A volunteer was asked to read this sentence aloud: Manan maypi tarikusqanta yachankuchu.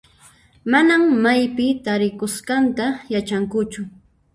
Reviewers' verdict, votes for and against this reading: rejected, 1, 2